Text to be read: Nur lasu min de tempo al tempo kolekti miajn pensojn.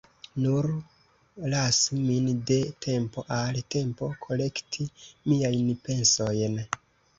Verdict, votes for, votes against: accepted, 2, 0